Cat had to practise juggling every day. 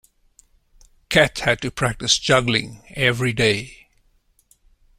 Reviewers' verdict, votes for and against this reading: accepted, 2, 0